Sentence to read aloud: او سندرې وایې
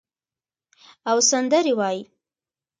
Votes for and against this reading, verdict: 1, 2, rejected